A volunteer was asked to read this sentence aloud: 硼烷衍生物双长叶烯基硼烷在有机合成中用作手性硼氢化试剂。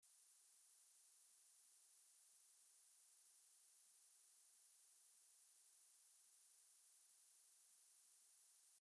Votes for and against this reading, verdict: 0, 2, rejected